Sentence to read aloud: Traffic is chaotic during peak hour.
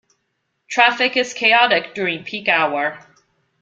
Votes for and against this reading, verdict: 2, 0, accepted